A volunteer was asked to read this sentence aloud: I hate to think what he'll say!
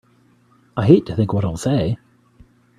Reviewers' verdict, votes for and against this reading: accepted, 2, 1